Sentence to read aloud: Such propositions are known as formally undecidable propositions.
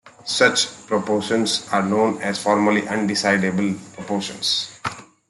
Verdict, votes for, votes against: rejected, 0, 2